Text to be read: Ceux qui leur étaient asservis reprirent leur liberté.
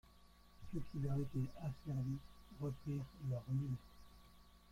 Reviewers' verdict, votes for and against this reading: rejected, 0, 2